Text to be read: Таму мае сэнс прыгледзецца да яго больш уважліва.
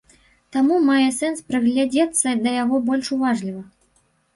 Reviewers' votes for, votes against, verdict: 0, 2, rejected